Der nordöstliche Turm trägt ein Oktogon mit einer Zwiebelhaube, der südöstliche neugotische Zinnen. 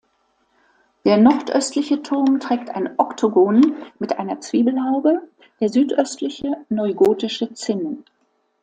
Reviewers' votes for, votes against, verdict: 2, 0, accepted